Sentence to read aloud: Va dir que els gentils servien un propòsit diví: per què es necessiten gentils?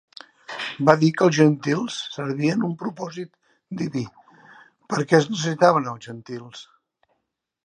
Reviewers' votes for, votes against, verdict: 1, 3, rejected